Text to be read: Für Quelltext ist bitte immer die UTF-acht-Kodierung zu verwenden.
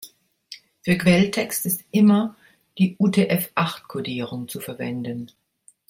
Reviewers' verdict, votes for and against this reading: rejected, 0, 2